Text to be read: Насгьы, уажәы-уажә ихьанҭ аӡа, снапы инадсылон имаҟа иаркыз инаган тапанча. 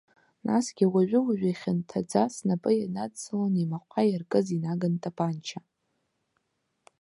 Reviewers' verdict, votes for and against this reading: rejected, 0, 2